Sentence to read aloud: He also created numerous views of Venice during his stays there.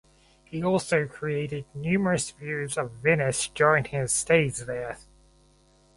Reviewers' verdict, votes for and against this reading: accepted, 4, 2